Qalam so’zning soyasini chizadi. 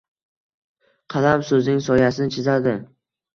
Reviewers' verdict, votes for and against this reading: accepted, 2, 0